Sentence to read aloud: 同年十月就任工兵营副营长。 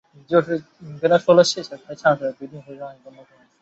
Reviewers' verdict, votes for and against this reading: rejected, 1, 2